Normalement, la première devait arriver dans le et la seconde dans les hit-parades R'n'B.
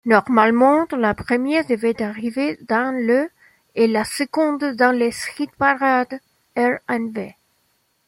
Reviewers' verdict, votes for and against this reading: rejected, 1, 2